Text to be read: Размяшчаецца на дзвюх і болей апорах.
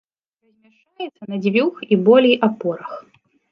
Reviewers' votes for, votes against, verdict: 1, 3, rejected